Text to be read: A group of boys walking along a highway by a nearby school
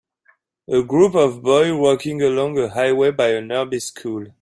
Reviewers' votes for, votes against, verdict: 1, 2, rejected